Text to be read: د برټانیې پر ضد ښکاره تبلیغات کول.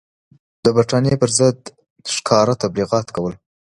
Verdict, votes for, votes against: accepted, 2, 0